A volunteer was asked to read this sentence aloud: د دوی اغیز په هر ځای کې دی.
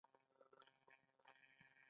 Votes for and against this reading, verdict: 1, 3, rejected